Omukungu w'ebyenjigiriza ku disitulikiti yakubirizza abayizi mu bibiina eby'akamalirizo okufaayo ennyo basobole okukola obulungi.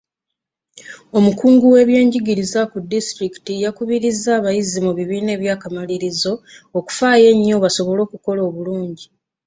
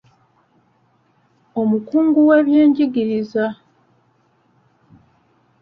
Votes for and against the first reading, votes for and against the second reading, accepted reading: 2, 0, 0, 2, first